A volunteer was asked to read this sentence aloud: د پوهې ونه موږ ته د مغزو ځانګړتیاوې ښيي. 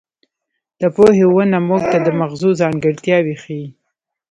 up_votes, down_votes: 2, 3